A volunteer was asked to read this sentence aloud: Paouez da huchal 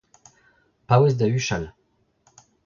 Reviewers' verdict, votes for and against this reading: accepted, 2, 1